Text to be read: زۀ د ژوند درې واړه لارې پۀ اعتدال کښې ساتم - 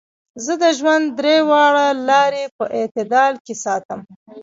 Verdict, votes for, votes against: rejected, 0, 2